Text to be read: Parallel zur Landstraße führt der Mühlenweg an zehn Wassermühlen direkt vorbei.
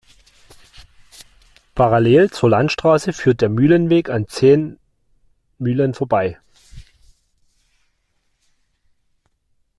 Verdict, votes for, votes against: rejected, 0, 2